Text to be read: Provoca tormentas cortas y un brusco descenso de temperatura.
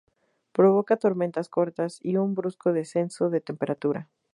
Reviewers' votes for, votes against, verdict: 4, 0, accepted